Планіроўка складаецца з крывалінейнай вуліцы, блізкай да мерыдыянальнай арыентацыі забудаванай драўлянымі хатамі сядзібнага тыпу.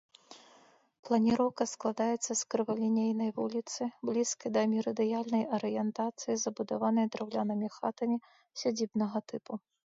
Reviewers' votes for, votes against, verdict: 2, 1, accepted